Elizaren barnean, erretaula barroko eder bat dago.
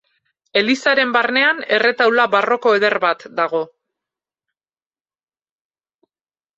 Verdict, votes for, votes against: accepted, 4, 0